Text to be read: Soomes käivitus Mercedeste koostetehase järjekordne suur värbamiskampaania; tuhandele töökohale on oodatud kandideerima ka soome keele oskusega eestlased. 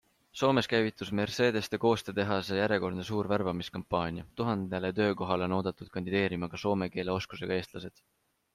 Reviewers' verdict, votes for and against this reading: accepted, 3, 0